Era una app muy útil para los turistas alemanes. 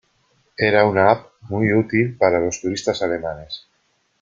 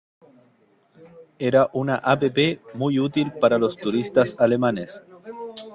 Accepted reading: first